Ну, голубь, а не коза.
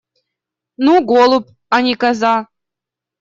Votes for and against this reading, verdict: 2, 0, accepted